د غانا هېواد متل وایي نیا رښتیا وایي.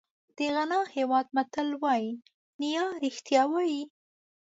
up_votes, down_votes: 2, 0